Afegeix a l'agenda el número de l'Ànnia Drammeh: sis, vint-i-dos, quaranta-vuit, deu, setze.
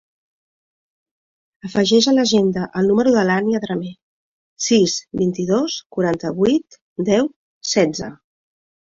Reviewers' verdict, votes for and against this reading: accepted, 2, 0